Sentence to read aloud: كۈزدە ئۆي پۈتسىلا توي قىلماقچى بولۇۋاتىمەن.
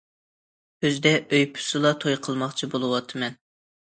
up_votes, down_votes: 2, 0